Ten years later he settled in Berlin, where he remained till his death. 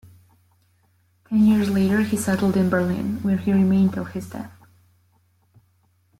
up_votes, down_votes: 1, 2